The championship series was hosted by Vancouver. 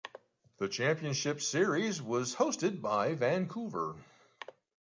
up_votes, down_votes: 2, 0